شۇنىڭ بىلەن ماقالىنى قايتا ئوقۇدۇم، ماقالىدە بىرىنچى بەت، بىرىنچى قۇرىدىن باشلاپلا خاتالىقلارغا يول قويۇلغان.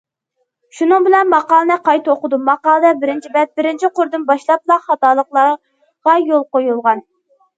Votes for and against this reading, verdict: 0, 2, rejected